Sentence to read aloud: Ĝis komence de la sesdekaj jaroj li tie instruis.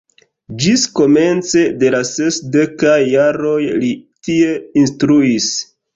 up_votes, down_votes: 2, 1